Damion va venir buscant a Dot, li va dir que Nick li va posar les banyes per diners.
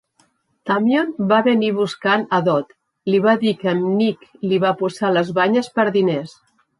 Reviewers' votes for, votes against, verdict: 2, 0, accepted